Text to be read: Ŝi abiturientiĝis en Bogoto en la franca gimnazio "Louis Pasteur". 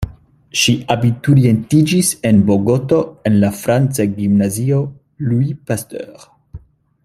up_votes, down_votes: 2, 0